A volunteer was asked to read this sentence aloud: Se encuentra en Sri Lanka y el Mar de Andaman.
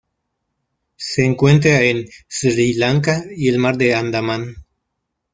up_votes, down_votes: 0, 2